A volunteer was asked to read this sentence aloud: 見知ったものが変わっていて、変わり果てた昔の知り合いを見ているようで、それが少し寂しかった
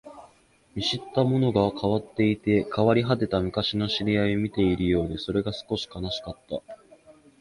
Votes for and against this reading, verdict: 0, 2, rejected